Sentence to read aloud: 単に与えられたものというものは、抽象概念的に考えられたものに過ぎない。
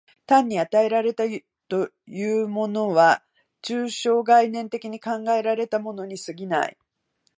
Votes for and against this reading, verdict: 0, 2, rejected